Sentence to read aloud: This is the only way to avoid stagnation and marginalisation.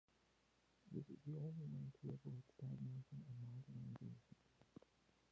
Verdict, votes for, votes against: rejected, 0, 2